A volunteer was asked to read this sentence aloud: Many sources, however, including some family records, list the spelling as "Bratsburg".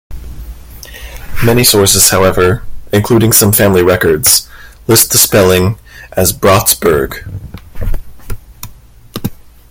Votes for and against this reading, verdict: 2, 0, accepted